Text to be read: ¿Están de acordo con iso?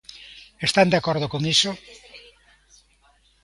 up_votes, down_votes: 2, 0